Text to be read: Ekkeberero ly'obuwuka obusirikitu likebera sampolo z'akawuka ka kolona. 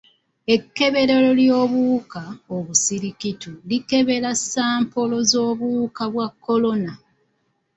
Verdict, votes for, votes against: rejected, 0, 2